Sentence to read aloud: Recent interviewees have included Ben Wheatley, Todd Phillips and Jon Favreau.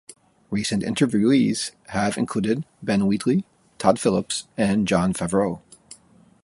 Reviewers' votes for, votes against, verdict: 2, 0, accepted